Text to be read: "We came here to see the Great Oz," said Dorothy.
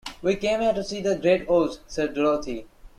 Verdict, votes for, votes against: rejected, 0, 2